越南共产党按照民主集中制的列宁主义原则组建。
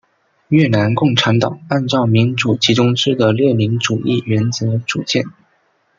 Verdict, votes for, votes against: rejected, 1, 2